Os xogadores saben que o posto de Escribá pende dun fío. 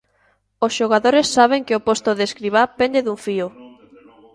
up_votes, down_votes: 1, 2